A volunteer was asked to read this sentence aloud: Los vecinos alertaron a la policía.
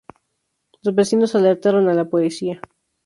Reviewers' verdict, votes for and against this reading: accepted, 2, 0